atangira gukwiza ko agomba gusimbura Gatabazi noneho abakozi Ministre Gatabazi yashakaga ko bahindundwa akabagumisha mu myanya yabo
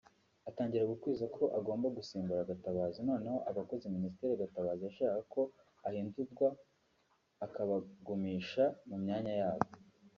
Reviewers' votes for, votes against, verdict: 1, 2, rejected